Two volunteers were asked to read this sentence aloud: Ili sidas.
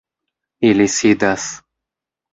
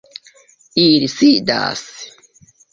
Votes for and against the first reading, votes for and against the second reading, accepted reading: 2, 0, 1, 2, first